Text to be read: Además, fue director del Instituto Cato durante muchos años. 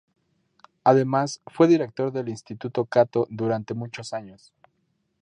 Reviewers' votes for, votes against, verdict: 2, 0, accepted